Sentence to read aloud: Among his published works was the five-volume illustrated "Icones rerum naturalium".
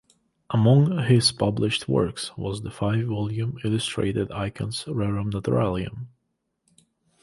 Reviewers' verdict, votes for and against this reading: accepted, 2, 0